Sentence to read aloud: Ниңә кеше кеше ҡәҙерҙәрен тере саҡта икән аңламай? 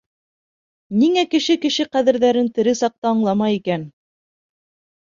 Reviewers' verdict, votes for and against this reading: rejected, 0, 2